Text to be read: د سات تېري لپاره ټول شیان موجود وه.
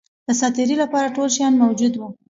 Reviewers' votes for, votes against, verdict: 2, 0, accepted